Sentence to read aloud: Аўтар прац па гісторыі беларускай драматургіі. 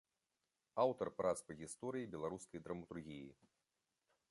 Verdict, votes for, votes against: accepted, 2, 0